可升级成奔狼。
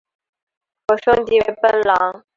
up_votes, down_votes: 3, 1